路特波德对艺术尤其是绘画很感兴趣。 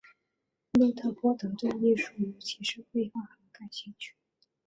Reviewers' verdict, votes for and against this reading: rejected, 2, 2